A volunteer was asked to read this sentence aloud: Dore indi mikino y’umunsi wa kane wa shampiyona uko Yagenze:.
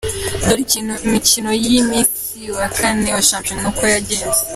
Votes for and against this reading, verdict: 3, 0, accepted